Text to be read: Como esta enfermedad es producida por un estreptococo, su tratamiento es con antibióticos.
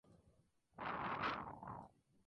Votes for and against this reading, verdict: 0, 4, rejected